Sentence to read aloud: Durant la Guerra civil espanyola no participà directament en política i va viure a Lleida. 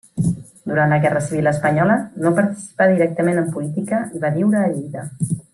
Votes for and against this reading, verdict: 3, 0, accepted